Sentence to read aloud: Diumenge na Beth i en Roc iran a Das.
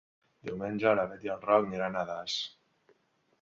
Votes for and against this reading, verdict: 1, 2, rejected